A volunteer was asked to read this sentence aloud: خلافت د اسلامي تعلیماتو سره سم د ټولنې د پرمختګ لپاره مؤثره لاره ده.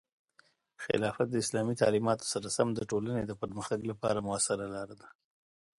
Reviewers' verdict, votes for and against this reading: accepted, 2, 0